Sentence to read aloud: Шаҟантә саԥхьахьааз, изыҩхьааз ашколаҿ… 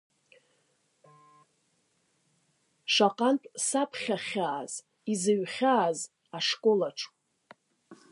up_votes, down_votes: 2, 0